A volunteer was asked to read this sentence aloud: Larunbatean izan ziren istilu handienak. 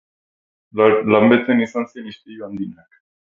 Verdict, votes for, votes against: rejected, 0, 4